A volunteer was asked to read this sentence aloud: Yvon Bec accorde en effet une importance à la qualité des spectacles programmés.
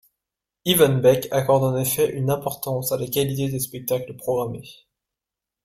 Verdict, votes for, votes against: rejected, 1, 2